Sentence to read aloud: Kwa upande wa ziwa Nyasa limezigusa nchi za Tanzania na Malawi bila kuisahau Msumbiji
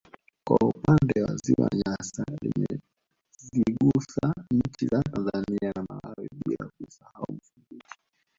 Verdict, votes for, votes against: rejected, 1, 2